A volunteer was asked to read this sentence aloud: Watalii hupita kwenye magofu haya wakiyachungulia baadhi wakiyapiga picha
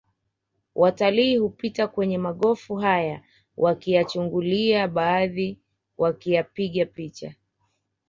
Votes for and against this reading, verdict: 2, 0, accepted